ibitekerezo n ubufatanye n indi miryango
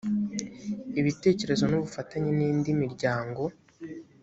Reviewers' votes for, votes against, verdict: 2, 0, accepted